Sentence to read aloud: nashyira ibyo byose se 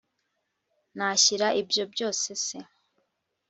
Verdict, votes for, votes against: accepted, 2, 0